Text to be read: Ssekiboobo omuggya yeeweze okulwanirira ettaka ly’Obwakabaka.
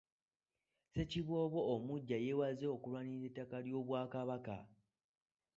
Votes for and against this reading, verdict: 1, 2, rejected